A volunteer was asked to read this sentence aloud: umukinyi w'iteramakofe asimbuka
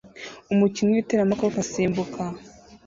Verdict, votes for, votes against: accepted, 2, 0